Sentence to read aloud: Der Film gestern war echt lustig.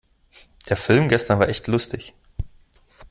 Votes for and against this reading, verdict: 2, 0, accepted